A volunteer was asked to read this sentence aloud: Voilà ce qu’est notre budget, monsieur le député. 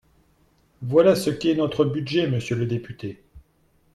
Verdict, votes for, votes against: accepted, 2, 0